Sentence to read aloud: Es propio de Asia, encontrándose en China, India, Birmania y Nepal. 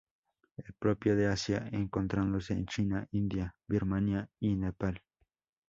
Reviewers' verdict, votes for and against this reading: accepted, 2, 0